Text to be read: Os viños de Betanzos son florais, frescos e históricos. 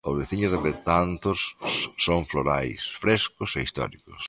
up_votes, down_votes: 0, 2